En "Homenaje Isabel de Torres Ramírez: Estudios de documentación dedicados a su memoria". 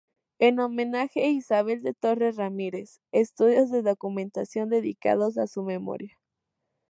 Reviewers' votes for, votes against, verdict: 4, 0, accepted